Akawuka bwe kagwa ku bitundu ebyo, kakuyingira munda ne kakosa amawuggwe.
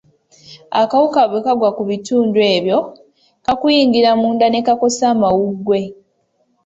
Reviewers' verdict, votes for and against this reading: accepted, 2, 0